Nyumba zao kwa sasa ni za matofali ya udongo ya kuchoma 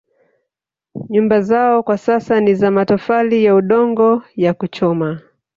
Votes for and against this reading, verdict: 1, 2, rejected